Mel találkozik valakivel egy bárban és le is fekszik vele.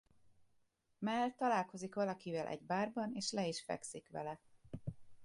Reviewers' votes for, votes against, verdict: 2, 0, accepted